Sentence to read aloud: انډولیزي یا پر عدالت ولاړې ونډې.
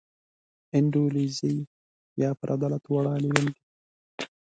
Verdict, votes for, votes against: rejected, 1, 2